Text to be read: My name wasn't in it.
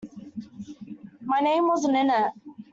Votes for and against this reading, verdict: 2, 0, accepted